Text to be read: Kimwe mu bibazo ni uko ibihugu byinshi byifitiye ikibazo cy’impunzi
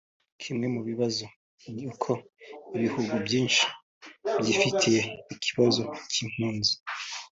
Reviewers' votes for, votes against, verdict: 2, 0, accepted